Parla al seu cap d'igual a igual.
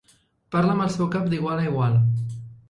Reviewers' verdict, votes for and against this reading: rejected, 0, 2